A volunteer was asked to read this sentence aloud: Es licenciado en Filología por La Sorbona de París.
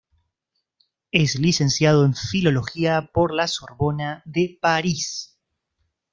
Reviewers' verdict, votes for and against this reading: accepted, 2, 0